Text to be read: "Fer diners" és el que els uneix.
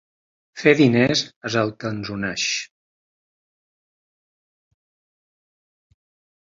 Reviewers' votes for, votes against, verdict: 3, 2, accepted